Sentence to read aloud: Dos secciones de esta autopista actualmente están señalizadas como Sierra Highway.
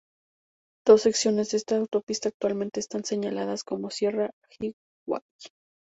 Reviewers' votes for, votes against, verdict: 2, 0, accepted